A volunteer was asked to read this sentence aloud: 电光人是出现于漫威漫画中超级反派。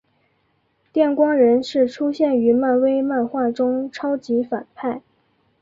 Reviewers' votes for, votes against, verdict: 1, 2, rejected